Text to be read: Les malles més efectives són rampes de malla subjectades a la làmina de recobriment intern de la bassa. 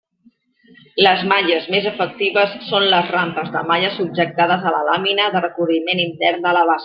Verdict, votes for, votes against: rejected, 1, 2